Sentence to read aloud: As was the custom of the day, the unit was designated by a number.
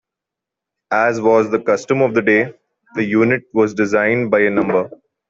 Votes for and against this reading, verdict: 0, 2, rejected